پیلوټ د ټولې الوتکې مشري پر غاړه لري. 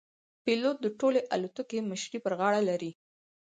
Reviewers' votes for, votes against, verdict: 4, 0, accepted